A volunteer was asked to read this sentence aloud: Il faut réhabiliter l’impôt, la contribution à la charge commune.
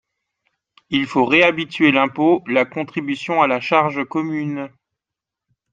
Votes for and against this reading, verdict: 0, 2, rejected